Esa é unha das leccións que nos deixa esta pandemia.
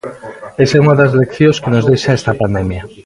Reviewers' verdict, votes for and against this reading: accepted, 2, 0